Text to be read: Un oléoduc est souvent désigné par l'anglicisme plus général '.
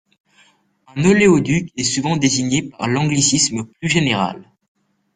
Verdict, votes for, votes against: rejected, 0, 2